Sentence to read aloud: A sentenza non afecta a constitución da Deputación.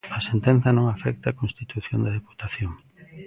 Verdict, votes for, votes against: accepted, 2, 0